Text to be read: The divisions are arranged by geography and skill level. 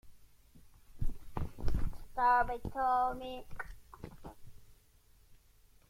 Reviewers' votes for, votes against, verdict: 0, 2, rejected